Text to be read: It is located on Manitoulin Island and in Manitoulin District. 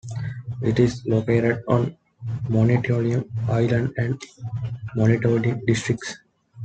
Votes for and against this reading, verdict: 1, 2, rejected